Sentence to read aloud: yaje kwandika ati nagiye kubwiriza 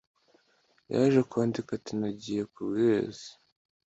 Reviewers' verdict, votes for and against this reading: accepted, 2, 0